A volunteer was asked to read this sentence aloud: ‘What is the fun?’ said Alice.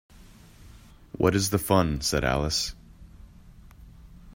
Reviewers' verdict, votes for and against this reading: accepted, 2, 0